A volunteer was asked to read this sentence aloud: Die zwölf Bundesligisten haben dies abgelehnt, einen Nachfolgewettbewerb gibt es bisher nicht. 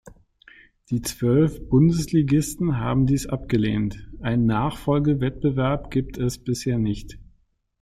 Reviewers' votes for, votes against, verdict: 2, 0, accepted